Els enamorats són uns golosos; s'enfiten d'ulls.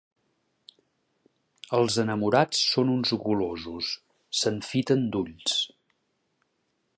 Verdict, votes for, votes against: accepted, 2, 0